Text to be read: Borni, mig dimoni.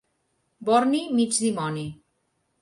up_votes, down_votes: 2, 0